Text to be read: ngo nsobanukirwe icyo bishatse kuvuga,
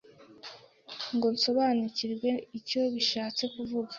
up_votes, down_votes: 2, 0